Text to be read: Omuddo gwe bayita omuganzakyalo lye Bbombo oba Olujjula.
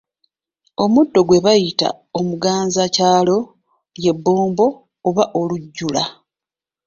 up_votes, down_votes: 2, 1